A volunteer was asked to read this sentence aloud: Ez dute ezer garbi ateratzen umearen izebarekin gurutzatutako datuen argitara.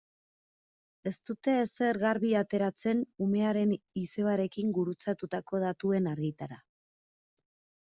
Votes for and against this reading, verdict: 2, 1, accepted